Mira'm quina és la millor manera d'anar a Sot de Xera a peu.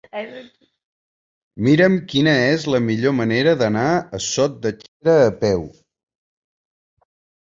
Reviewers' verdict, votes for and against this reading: rejected, 0, 2